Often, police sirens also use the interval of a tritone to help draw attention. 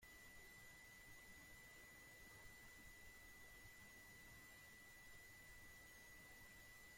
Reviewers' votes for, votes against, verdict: 0, 2, rejected